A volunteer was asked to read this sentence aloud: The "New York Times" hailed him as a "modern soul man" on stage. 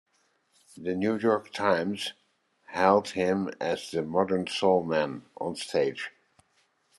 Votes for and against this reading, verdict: 1, 2, rejected